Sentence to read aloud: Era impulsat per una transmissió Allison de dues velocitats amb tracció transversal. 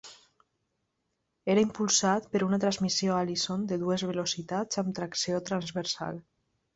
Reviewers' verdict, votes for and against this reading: accepted, 2, 0